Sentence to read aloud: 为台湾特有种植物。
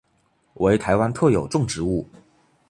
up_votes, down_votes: 2, 1